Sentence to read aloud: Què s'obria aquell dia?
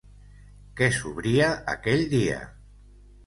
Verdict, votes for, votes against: rejected, 1, 2